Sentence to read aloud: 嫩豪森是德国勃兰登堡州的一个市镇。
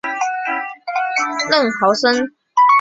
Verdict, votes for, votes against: rejected, 1, 2